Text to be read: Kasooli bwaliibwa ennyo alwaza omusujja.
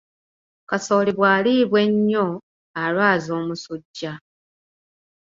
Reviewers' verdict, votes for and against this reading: accepted, 2, 1